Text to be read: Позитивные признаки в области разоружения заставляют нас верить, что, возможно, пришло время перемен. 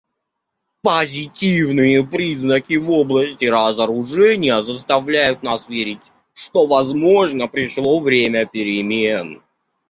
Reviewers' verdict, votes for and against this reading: rejected, 1, 2